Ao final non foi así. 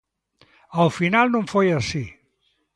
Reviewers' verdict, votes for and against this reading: accepted, 2, 0